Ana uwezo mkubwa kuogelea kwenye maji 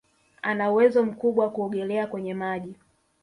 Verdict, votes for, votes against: rejected, 0, 2